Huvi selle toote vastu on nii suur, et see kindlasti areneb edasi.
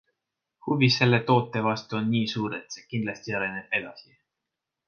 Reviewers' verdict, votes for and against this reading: accepted, 2, 0